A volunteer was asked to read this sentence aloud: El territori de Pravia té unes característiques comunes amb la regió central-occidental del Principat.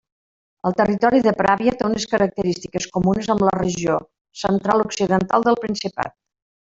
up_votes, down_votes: 1, 2